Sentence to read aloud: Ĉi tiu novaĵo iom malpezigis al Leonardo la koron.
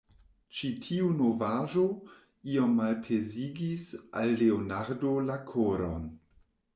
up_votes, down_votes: 2, 0